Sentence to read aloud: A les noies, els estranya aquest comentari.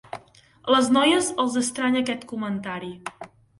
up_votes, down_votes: 1, 2